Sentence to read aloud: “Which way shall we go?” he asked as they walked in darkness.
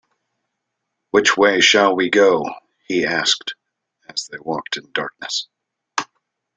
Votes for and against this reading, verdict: 2, 0, accepted